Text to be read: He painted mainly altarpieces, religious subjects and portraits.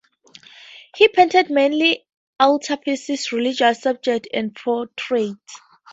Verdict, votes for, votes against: accepted, 2, 0